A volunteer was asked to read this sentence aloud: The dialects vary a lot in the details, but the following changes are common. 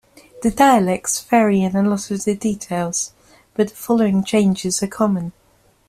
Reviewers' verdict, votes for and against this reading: accepted, 2, 1